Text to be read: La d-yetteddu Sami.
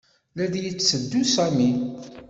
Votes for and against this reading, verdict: 2, 0, accepted